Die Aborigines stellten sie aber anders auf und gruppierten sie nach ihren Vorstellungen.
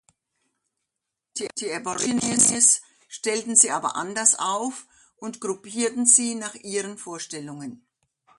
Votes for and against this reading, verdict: 0, 2, rejected